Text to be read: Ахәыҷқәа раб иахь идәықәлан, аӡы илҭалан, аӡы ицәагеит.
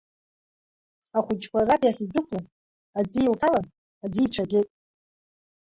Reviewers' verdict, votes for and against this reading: rejected, 1, 2